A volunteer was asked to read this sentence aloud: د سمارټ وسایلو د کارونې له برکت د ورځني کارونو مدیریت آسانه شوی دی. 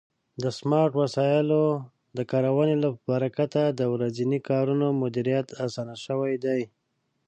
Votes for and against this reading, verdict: 0, 2, rejected